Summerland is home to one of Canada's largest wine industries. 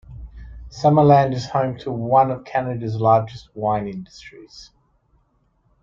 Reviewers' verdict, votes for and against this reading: accepted, 2, 1